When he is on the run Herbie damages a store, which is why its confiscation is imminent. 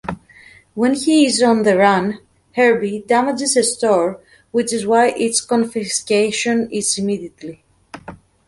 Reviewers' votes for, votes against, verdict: 0, 2, rejected